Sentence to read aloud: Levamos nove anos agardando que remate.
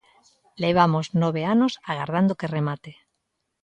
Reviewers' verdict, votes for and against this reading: accepted, 2, 0